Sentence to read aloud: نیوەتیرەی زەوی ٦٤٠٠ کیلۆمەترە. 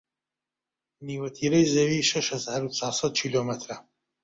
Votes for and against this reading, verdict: 0, 2, rejected